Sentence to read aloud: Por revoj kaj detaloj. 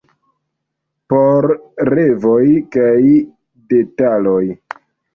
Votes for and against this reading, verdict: 1, 2, rejected